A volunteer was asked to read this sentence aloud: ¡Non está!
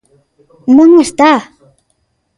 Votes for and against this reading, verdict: 1, 2, rejected